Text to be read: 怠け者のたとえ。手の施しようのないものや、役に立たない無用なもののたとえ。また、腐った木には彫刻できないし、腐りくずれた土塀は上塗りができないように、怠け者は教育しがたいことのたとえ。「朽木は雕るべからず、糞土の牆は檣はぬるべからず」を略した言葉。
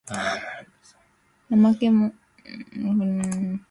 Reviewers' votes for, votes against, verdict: 2, 0, accepted